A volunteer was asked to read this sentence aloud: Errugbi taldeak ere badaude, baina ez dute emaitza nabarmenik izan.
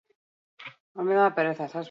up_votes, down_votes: 0, 4